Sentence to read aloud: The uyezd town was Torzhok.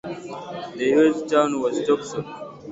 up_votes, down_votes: 2, 0